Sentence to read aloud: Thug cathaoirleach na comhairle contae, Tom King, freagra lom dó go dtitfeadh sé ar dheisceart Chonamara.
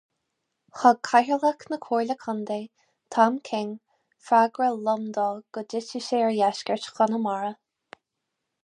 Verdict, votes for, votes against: rejected, 2, 2